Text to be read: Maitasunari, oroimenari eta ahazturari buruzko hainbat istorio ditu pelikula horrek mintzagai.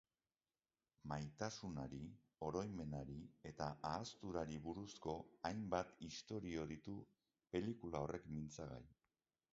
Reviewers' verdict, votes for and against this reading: rejected, 3, 5